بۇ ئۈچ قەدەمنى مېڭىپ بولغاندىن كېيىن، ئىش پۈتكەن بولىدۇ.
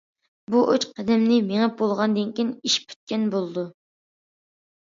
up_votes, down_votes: 2, 0